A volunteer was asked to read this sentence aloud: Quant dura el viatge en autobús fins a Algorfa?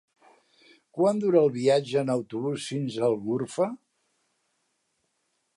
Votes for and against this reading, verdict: 0, 2, rejected